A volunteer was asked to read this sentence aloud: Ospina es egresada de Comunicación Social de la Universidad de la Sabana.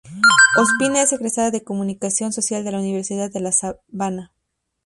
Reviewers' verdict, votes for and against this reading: accepted, 2, 0